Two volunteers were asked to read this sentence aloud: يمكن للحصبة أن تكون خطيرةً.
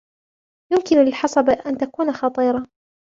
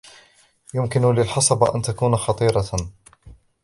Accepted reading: first